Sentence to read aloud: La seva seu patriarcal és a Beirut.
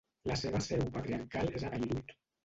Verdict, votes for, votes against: rejected, 0, 2